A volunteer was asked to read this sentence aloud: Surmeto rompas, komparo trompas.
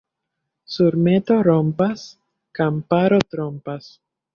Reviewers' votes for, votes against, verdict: 0, 2, rejected